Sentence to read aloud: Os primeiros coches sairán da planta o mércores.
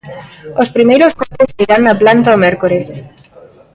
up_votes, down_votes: 0, 2